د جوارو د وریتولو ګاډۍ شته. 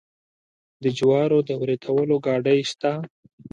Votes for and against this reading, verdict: 2, 0, accepted